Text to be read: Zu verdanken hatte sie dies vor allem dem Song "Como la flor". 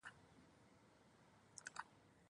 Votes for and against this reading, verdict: 0, 2, rejected